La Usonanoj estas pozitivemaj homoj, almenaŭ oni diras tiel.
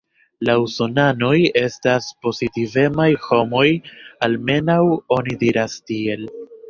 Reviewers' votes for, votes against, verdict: 2, 0, accepted